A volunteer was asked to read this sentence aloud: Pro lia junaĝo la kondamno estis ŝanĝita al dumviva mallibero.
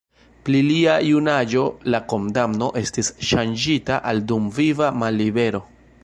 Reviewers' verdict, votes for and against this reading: rejected, 0, 2